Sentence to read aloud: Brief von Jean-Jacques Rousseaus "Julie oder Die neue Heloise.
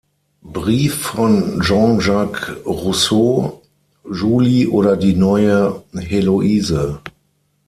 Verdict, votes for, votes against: accepted, 6, 0